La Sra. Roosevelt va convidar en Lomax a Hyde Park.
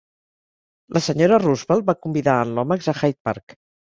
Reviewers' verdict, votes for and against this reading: accepted, 2, 0